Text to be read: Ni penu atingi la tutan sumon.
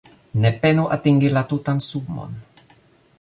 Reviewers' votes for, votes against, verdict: 1, 2, rejected